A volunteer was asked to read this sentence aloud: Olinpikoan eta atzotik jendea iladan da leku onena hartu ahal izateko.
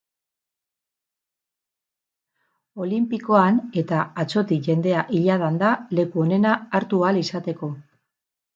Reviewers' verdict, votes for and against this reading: accepted, 6, 0